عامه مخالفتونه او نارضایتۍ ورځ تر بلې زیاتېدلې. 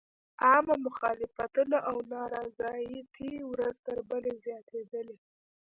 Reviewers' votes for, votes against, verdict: 0, 2, rejected